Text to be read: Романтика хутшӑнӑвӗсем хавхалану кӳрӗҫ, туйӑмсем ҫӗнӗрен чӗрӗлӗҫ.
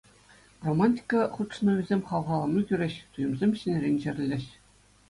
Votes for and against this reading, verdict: 2, 0, accepted